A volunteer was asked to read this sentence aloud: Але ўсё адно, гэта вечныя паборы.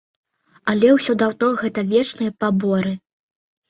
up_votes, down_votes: 1, 2